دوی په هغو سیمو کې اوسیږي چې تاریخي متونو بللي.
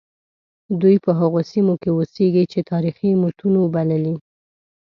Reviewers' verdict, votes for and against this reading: accepted, 2, 0